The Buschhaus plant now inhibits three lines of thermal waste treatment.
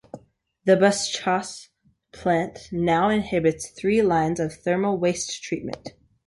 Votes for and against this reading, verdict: 1, 2, rejected